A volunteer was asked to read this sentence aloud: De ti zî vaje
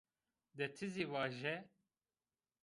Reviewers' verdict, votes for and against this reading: accepted, 2, 0